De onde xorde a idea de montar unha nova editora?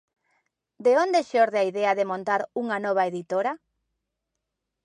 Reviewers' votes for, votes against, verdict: 2, 0, accepted